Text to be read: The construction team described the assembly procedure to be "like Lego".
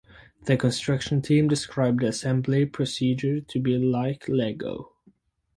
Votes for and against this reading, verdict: 4, 0, accepted